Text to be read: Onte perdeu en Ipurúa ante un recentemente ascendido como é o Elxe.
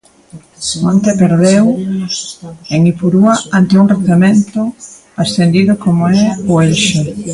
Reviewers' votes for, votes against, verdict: 0, 2, rejected